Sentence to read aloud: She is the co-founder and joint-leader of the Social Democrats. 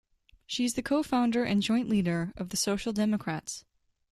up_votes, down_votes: 0, 2